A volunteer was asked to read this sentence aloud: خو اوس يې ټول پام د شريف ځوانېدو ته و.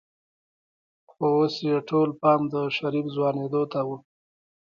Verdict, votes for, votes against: accepted, 2, 1